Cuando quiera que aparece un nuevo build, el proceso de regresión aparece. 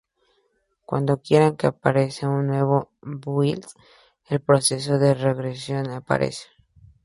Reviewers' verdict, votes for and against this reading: rejected, 2, 2